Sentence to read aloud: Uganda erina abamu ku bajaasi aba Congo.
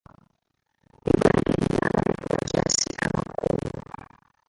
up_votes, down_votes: 0, 2